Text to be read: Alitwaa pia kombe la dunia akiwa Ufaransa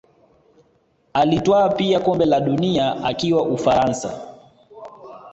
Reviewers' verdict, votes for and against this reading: accepted, 2, 0